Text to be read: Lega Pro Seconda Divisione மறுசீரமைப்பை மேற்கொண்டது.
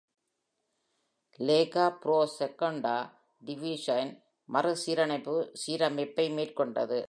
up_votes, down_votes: 0, 2